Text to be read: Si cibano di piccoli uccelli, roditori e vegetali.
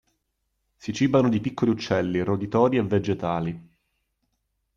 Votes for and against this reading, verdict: 2, 0, accepted